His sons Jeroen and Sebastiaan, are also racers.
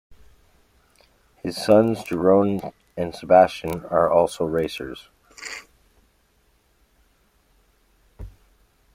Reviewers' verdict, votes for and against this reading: accepted, 2, 0